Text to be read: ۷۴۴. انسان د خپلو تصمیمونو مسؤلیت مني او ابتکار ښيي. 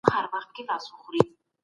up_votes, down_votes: 0, 2